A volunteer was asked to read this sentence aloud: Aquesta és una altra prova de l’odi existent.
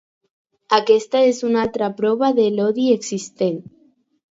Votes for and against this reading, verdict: 4, 0, accepted